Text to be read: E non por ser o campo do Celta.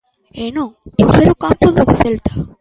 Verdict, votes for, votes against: rejected, 0, 2